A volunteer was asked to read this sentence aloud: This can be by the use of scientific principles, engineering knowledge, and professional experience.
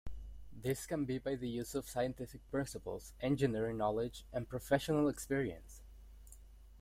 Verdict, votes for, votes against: accepted, 2, 0